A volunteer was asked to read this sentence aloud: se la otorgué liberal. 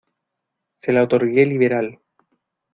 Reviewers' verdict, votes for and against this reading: accepted, 2, 0